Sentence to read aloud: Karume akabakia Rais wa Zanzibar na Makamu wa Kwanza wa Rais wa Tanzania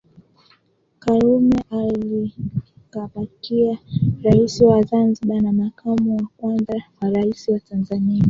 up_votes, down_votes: 1, 2